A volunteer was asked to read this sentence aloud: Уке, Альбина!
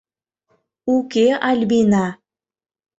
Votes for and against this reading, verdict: 2, 0, accepted